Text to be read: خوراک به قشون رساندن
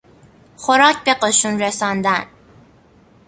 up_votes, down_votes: 2, 0